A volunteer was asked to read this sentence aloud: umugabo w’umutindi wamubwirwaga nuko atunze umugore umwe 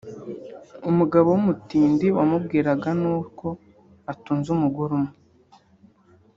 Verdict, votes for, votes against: rejected, 1, 2